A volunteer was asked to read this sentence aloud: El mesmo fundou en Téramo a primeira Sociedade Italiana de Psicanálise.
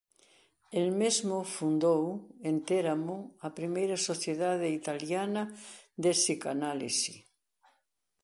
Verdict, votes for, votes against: rejected, 1, 2